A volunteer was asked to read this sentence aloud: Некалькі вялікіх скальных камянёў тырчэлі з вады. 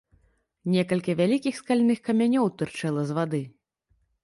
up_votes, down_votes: 0, 2